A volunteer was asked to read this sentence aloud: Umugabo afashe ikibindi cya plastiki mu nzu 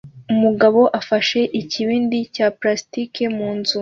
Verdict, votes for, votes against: accepted, 2, 0